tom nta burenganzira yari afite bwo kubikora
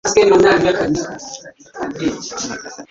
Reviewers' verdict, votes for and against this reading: rejected, 1, 2